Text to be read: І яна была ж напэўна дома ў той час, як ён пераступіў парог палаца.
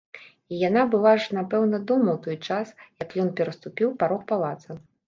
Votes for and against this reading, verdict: 2, 0, accepted